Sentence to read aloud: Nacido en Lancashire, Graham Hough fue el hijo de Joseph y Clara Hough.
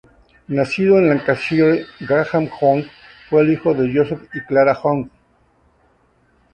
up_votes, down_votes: 0, 4